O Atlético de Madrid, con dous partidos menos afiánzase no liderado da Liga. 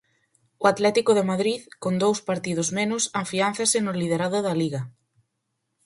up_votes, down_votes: 4, 0